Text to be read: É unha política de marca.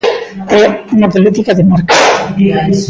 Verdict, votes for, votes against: rejected, 0, 2